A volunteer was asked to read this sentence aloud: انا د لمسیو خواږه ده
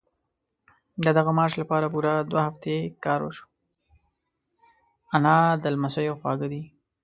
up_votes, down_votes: 0, 2